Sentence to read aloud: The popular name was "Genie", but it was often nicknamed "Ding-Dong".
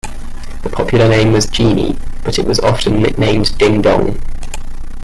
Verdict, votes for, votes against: accepted, 2, 0